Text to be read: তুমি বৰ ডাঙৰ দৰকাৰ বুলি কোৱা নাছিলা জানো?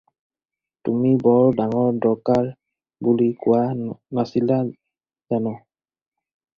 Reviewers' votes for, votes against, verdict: 4, 0, accepted